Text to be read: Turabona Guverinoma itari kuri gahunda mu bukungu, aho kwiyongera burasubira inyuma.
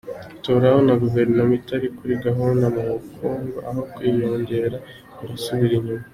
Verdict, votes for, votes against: accepted, 2, 0